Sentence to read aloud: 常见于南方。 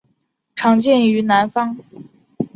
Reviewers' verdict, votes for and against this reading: accepted, 3, 0